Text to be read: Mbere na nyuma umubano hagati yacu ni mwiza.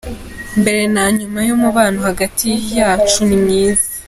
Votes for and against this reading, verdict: 3, 0, accepted